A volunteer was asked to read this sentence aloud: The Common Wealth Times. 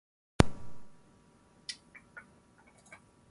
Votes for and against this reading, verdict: 0, 6, rejected